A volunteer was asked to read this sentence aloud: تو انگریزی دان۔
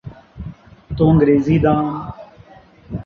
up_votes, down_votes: 2, 0